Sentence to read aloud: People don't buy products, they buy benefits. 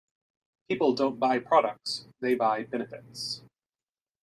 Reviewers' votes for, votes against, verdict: 2, 0, accepted